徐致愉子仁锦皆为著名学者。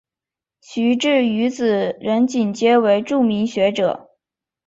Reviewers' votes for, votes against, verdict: 2, 0, accepted